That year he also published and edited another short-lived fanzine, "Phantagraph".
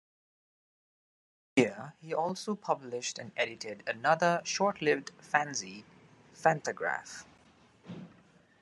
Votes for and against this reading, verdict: 0, 2, rejected